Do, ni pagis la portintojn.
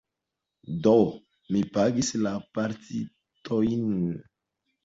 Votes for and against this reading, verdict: 1, 2, rejected